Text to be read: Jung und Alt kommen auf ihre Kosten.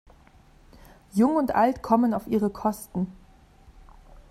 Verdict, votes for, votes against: accepted, 2, 0